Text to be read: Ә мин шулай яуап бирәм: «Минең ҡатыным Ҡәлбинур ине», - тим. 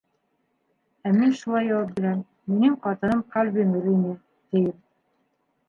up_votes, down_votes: 1, 2